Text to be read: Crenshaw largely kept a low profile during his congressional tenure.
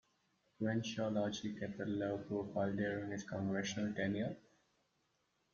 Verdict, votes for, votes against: accepted, 2, 0